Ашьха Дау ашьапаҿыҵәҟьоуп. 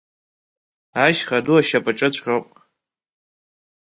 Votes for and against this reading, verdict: 1, 3, rejected